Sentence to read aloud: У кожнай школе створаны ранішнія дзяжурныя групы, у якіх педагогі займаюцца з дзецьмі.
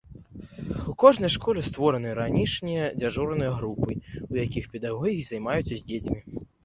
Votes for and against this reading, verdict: 1, 2, rejected